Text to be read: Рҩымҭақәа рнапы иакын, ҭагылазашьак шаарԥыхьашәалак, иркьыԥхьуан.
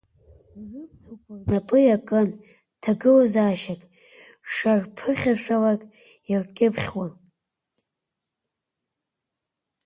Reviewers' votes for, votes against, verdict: 1, 2, rejected